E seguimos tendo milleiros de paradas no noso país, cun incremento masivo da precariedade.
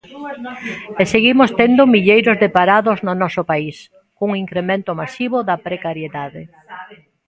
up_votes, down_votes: 0, 2